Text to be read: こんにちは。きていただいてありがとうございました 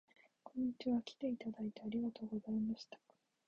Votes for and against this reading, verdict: 1, 2, rejected